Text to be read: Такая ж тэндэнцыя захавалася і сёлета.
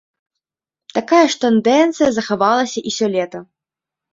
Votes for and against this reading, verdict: 0, 2, rejected